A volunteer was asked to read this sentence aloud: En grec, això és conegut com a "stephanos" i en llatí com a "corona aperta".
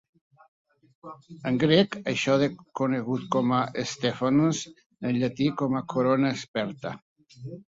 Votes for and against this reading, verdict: 0, 2, rejected